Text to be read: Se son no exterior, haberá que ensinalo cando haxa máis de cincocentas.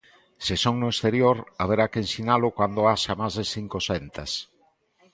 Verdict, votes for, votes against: accepted, 2, 0